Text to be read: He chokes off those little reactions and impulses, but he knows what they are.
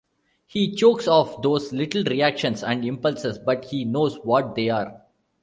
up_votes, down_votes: 2, 0